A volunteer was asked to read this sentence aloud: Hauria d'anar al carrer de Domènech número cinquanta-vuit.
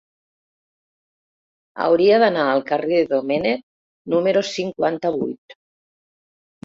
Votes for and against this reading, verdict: 0, 2, rejected